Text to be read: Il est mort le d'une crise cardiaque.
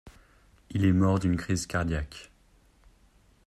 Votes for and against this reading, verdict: 1, 2, rejected